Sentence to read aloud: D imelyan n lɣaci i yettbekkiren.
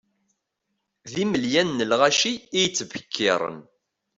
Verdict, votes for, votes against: accepted, 2, 0